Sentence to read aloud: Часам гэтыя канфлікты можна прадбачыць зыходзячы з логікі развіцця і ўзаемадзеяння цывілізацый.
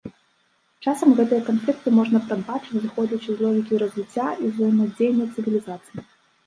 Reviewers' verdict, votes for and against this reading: accepted, 2, 1